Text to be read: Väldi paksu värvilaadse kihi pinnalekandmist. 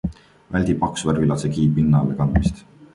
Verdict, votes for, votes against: accepted, 2, 1